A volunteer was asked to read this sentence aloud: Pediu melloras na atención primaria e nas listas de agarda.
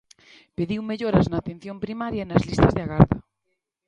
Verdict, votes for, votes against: rejected, 1, 2